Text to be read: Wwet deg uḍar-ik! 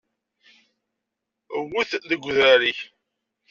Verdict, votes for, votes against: rejected, 1, 2